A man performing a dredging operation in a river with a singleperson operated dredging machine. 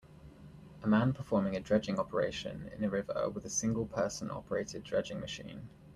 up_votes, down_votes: 2, 0